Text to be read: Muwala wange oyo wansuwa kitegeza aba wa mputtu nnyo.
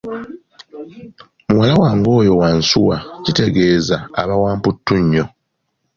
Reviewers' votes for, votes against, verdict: 2, 0, accepted